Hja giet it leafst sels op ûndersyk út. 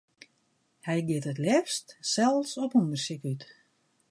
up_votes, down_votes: 1, 2